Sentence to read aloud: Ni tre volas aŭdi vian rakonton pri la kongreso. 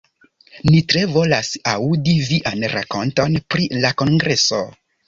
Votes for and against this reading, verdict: 2, 0, accepted